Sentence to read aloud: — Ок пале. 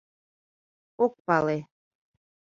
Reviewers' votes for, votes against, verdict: 2, 0, accepted